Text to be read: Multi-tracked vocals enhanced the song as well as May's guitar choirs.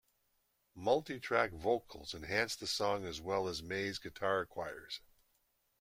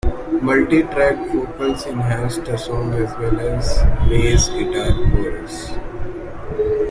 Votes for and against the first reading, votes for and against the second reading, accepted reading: 2, 0, 1, 2, first